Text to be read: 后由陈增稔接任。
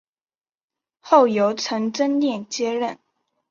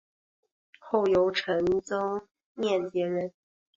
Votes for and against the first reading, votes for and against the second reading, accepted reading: 3, 1, 1, 2, first